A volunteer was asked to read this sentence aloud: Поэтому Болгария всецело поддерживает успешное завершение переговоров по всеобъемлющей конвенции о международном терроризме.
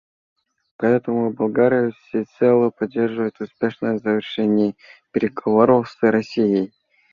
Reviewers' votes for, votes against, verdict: 0, 2, rejected